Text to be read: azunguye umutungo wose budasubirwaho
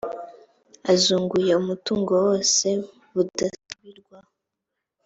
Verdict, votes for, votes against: accepted, 2, 0